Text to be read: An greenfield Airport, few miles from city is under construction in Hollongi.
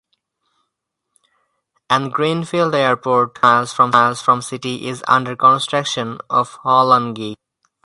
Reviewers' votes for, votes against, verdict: 0, 4, rejected